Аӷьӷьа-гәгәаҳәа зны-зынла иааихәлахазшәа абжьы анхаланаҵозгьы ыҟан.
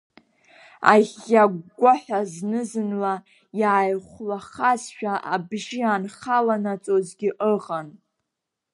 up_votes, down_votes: 2, 0